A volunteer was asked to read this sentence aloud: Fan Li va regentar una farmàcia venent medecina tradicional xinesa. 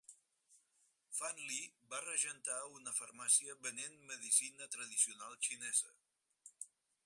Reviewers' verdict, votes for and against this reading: rejected, 0, 4